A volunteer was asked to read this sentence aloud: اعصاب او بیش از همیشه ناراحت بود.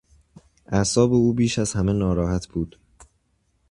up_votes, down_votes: 0, 2